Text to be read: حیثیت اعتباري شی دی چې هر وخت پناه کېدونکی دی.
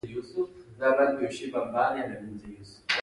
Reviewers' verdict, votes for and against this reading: accepted, 2, 1